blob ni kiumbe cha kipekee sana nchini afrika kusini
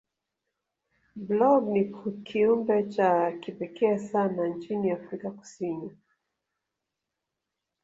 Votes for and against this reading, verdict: 1, 2, rejected